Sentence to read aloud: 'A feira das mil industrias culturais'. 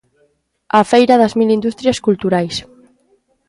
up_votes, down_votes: 2, 0